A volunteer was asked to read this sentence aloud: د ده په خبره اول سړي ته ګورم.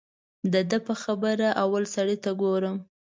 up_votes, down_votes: 2, 0